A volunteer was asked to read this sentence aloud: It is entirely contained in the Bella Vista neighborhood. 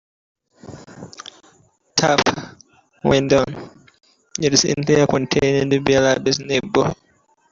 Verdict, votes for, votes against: rejected, 0, 2